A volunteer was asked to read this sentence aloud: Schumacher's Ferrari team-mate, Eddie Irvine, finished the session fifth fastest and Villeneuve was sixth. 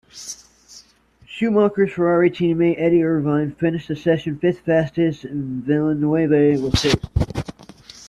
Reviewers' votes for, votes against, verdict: 0, 2, rejected